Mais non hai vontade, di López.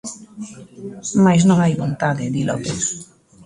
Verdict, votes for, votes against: accepted, 2, 0